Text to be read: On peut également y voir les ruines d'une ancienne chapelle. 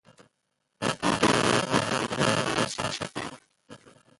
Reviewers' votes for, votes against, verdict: 0, 2, rejected